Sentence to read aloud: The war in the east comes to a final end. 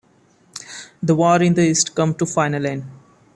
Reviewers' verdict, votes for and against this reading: rejected, 1, 2